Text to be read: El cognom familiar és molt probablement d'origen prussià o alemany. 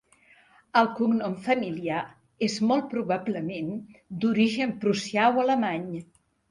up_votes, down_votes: 3, 0